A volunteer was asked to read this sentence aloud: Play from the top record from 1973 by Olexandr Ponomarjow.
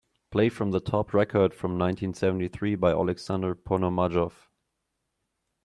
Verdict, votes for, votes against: rejected, 0, 2